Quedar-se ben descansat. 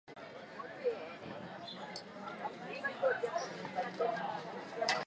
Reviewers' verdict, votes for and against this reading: rejected, 0, 3